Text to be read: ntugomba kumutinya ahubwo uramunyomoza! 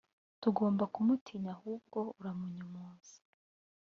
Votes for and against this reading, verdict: 0, 2, rejected